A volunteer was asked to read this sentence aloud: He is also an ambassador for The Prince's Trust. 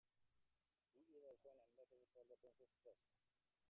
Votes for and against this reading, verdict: 0, 2, rejected